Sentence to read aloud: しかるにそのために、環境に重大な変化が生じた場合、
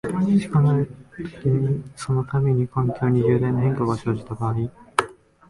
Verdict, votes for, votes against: rejected, 0, 2